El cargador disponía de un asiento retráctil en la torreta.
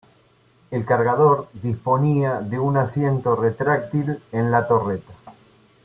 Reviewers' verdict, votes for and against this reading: accepted, 2, 0